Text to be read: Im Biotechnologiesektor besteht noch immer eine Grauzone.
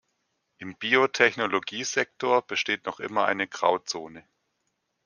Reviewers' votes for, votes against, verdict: 2, 0, accepted